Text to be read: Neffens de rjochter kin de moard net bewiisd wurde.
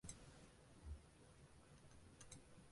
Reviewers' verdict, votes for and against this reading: rejected, 0, 2